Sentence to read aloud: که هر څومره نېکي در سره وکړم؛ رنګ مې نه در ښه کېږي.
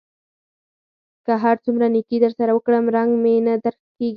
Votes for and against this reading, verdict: 0, 4, rejected